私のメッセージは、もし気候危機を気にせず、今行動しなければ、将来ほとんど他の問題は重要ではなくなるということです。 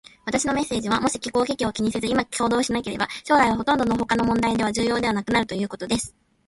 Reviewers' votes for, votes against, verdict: 0, 2, rejected